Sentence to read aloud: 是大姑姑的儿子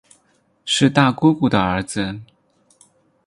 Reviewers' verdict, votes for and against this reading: accepted, 6, 0